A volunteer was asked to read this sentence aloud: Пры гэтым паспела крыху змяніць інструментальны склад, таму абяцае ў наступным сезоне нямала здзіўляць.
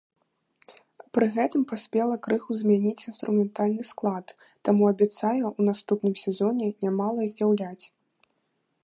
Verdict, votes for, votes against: accepted, 2, 1